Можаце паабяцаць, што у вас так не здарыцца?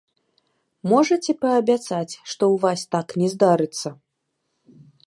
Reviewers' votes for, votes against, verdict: 1, 2, rejected